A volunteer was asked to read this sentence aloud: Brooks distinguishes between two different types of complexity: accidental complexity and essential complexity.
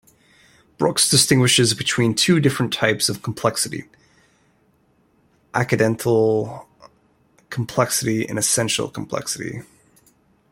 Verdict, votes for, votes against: rejected, 1, 2